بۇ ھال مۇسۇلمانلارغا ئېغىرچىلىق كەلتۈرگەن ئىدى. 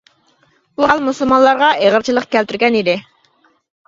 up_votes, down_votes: 3, 0